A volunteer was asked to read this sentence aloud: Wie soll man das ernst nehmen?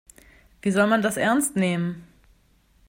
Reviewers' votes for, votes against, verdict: 2, 0, accepted